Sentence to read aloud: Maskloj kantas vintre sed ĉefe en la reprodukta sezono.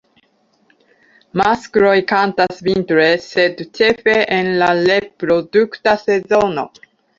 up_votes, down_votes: 0, 2